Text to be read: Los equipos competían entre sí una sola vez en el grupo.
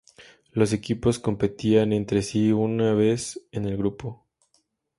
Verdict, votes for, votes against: rejected, 0, 2